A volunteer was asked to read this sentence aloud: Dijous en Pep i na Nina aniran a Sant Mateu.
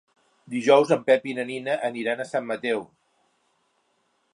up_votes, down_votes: 3, 0